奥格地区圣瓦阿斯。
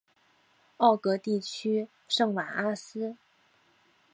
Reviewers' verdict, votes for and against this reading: accepted, 4, 0